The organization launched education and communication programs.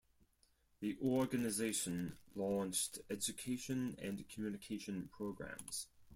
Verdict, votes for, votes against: accepted, 4, 0